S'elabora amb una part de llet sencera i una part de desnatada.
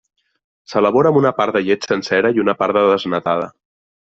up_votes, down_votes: 1, 2